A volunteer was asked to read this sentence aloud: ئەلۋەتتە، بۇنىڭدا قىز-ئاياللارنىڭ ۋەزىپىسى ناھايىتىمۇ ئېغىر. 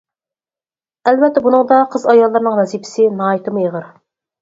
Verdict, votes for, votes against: accepted, 4, 0